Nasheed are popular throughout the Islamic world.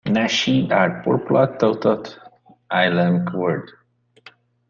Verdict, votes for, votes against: rejected, 0, 2